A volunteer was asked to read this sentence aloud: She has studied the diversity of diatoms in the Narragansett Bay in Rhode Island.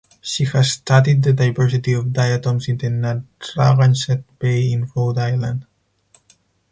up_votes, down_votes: 0, 4